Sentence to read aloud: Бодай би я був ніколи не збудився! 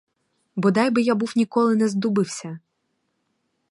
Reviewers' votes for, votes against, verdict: 0, 4, rejected